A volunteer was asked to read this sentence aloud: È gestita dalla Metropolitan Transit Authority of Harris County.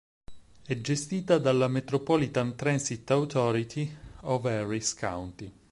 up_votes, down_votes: 4, 2